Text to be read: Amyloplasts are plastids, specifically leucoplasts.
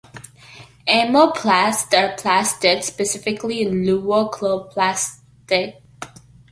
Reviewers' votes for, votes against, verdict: 0, 2, rejected